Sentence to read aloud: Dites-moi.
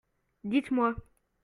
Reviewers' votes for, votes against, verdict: 2, 0, accepted